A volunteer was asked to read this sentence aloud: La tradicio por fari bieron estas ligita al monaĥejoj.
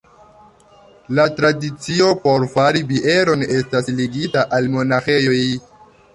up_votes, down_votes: 2, 0